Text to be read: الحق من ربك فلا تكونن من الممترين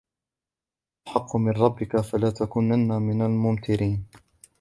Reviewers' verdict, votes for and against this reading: rejected, 0, 2